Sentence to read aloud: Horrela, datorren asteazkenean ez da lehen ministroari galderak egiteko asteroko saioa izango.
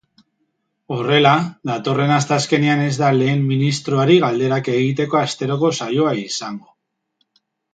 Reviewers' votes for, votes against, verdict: 3, 0, accepted